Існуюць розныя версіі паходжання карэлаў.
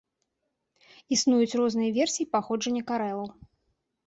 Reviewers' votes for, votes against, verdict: 0, 2, rejected